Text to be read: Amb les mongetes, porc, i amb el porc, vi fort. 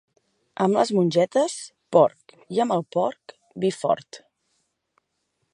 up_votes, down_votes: 3, 0